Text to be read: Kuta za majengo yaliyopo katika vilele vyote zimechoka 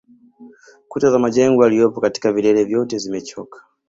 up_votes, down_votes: 2, 0